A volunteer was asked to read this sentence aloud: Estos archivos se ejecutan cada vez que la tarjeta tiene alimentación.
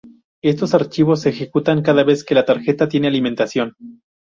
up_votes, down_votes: 2, 0